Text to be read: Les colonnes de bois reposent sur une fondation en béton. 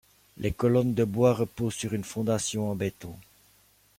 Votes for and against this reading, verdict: 2, 0, accepted